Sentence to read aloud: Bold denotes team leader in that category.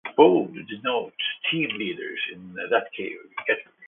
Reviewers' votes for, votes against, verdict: 1, 2, rejected